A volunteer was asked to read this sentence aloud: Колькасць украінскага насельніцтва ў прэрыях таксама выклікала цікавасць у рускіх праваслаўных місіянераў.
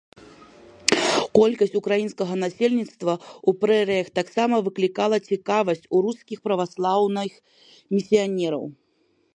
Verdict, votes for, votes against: rejected, 1, 2